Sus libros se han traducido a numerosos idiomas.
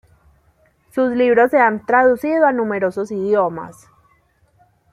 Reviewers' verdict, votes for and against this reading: accepted, 2, 1